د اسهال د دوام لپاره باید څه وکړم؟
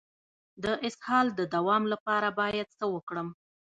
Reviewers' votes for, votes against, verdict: 0, 2, rejected